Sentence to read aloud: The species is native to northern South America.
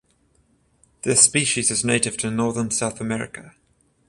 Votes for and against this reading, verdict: 0, 14, rejected